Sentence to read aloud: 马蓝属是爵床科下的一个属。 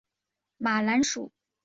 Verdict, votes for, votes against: rejected, 2, 3